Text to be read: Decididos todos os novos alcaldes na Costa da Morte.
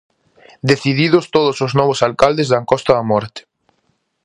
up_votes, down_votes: 0, 2